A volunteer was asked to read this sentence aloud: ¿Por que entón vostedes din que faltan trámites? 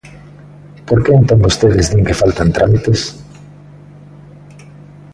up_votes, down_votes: 2, 1